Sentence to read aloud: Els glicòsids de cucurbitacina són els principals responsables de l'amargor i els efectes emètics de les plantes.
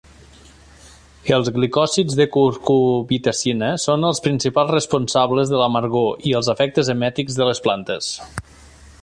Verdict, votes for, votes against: accepted, 2, 0